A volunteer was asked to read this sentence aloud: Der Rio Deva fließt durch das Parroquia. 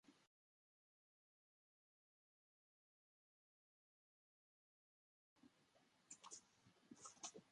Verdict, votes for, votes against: rejected, 0, 2